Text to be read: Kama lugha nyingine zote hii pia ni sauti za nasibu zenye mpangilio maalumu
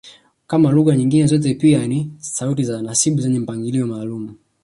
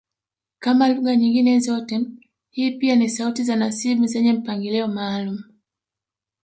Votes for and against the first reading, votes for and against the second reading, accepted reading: 1, 2, 2, 1, second